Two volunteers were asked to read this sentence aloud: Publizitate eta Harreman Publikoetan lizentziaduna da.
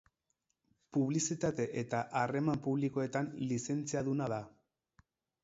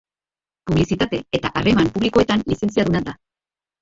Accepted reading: first